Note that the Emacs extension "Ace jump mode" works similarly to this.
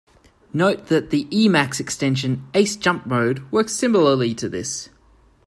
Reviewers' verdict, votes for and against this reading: accepted, 3, 0